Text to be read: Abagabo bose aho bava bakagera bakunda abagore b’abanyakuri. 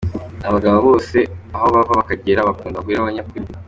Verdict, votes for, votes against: rejected, 1, 2